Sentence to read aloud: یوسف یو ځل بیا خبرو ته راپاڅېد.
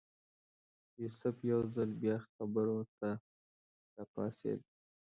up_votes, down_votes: 1, 2